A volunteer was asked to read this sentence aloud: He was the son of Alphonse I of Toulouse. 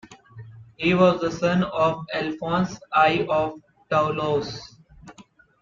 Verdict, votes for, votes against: rejected, 0, 3